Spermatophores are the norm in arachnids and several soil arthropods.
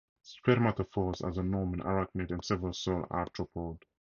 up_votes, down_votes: 2, 0